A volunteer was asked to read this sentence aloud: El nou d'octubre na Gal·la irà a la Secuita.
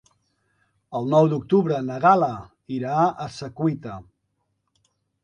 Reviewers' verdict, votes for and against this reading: rejected, 1, 2